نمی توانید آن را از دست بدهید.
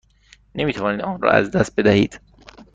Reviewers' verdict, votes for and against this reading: rejected, 1, 2